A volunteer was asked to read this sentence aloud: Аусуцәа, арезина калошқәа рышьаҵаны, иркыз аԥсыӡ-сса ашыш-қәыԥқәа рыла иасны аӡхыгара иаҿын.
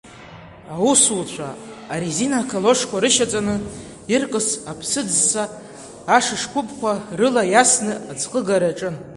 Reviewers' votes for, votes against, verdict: 2, 0, accepted